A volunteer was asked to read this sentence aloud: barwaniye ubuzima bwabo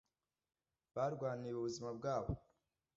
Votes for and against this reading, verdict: 2, 0, accepted